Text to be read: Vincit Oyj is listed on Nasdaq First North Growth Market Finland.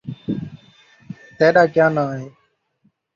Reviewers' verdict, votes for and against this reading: rejected, 0, 2